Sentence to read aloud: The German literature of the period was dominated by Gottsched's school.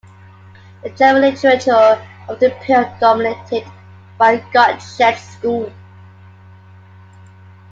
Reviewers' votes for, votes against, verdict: 2, 1, accepted